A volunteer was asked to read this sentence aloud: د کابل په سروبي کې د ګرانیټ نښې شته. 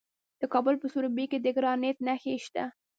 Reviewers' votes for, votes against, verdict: 1, 2, rejected